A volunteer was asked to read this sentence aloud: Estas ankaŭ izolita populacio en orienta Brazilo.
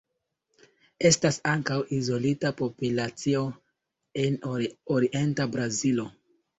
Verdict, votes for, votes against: rejected, 1, 2